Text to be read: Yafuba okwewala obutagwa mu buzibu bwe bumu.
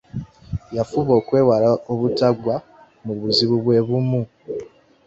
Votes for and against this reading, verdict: 2, 0, accepted